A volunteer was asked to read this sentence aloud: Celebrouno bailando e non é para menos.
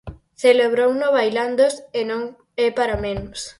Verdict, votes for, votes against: accepted, 4, 2